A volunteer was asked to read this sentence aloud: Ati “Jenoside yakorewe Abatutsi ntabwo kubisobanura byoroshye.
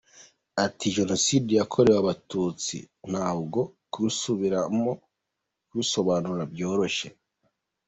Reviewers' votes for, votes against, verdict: 1, 2, rejected